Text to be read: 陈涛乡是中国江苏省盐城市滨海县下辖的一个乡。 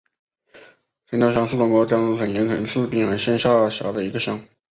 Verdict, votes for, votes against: accepted, 3, 2